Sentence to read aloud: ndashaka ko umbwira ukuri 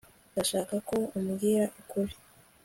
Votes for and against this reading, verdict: 2, 0, accepted